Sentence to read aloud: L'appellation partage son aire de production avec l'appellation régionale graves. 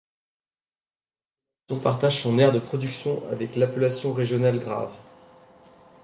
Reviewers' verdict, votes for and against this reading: rejected, 0, 2